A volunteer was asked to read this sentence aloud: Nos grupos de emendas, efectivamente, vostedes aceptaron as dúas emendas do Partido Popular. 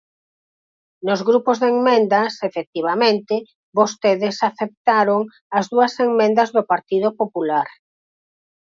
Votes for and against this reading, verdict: 2, 4, rejected